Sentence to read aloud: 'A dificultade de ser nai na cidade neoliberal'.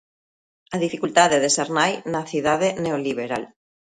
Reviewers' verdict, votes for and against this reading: accepted, 2, 0